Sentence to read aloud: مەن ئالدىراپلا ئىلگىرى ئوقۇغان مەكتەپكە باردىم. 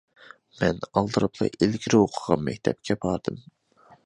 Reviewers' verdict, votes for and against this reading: accepted, 2, 0